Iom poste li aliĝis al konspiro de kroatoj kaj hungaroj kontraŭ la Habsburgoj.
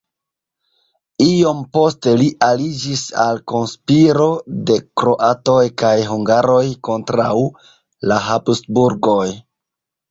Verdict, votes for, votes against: rejected, 0, 2